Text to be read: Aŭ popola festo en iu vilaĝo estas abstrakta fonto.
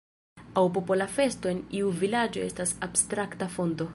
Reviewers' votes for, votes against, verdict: 0, 2, rejected